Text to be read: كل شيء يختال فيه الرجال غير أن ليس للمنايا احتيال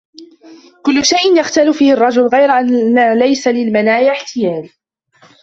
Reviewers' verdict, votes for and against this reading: rejected, 0, 2